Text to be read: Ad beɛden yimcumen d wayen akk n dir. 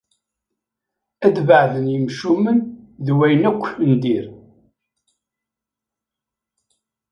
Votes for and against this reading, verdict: 1, 2, rejected